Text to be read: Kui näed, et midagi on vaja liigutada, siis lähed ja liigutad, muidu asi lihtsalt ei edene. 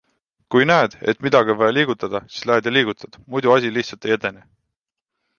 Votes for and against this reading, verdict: 2, 0, accepted